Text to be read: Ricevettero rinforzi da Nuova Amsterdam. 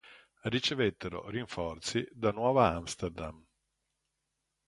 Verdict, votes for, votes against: accepted, 2, 0